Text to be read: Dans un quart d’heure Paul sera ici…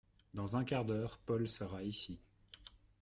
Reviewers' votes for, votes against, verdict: 2, 0, accepted